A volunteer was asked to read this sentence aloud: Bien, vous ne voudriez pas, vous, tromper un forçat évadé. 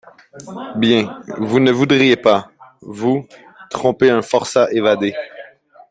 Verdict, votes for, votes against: accepted, 2, 0